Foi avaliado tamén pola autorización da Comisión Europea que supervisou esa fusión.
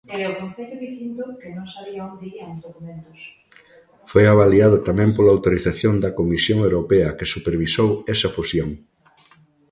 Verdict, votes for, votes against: rejected, 1, 2